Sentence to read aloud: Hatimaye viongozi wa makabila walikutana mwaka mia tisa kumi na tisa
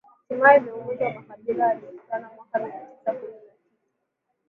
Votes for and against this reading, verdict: 0, 3, rejected